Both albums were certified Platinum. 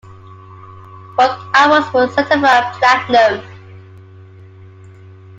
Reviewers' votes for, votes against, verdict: 2, 0, accepted